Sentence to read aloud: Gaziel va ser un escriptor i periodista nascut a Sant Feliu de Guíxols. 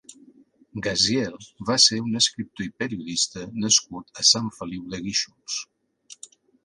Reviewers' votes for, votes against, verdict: 4, 0, accepted